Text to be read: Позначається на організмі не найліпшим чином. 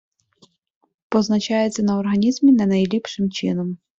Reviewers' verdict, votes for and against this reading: accepted, 2, 0